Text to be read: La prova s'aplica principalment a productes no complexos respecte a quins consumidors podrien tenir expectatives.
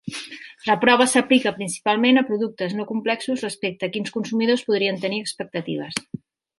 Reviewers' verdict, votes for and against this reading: accepted, 2, 0